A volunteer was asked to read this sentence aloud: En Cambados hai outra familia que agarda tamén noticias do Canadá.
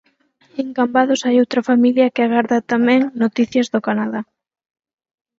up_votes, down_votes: 0, 4